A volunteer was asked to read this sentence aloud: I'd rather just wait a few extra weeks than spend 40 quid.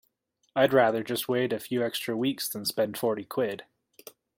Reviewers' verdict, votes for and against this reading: rejected, 0, 2